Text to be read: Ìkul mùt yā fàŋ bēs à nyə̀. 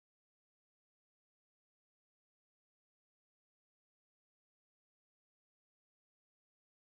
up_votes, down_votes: 0, 2